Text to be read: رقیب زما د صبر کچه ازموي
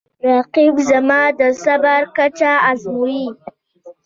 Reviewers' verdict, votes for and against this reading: rejected, 1, 3